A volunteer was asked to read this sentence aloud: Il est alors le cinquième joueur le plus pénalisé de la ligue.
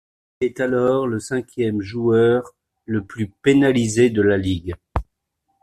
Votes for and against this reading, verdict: 1, 2, rejected